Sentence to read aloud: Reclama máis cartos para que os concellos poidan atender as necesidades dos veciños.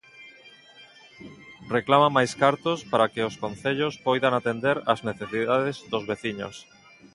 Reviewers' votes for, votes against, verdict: 3, 0, accepted